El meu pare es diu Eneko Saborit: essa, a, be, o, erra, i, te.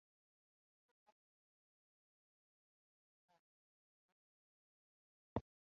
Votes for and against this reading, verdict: 0, 2, rejected